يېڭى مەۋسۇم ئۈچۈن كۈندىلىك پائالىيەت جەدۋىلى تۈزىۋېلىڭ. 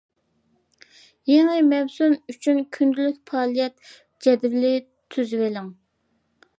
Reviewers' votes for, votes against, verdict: 2, 0, accepted